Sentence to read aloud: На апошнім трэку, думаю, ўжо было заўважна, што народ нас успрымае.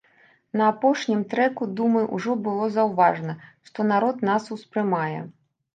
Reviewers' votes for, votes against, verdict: 2, 0, accepted